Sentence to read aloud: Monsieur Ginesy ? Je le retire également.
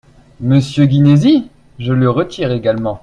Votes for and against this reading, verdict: 0, 2, rejected